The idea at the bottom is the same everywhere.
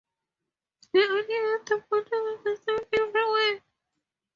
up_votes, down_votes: 2, 0